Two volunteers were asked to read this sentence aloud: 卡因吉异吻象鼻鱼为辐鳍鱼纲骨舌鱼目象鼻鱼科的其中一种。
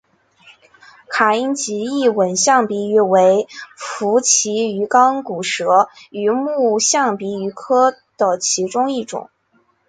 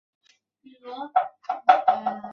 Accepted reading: first